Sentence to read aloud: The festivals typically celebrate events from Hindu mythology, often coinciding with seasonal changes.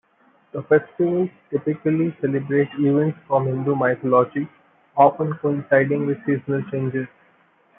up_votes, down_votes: 0, 2